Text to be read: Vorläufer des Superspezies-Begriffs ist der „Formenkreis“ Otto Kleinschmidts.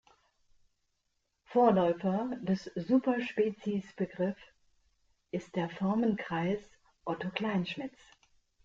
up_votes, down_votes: 1, 2